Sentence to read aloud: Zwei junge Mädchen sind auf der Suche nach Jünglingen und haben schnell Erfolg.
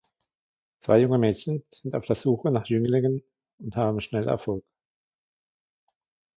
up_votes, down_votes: 2, 1